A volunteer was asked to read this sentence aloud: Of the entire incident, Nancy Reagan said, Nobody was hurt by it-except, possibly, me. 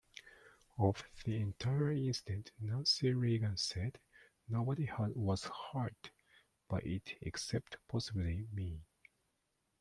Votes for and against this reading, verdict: 0, 2, rejected